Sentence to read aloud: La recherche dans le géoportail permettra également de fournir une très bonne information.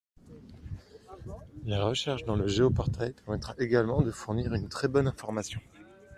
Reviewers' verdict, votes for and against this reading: rejected, 0, 2